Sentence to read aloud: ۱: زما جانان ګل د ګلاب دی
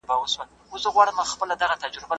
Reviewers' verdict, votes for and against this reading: rejected, 0, 2